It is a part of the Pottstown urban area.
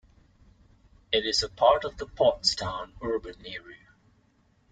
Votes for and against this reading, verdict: 2, 0, accepted